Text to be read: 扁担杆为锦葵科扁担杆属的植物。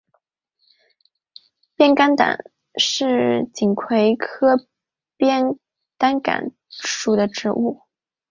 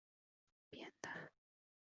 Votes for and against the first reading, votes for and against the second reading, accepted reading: 3, 1, 0, 2, first